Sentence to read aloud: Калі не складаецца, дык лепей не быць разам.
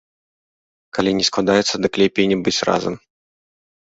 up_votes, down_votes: 2, 0